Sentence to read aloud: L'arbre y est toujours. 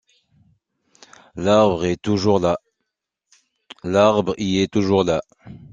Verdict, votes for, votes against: rejected, 0, 2